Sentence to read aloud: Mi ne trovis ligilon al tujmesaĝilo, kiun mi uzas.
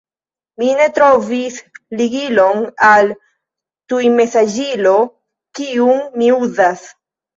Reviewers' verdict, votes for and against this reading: accepted, 3, 0